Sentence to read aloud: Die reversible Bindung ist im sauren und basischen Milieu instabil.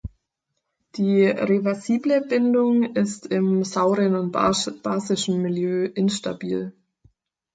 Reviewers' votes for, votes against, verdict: 2, 4, rejected